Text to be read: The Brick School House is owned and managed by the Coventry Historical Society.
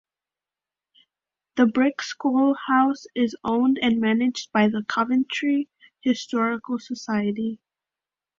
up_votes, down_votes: 2, 0